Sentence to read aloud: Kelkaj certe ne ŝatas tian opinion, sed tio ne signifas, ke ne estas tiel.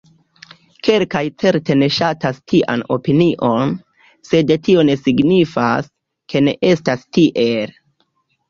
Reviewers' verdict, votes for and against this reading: rejected, 1, 2